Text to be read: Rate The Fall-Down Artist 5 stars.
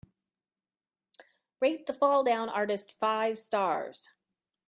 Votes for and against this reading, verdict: 0, 2, rejected